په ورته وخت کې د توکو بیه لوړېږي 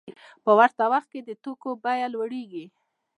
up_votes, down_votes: 1, 2